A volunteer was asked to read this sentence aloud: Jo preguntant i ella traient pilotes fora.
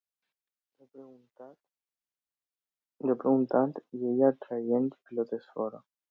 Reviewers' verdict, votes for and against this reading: accepted, 2, 0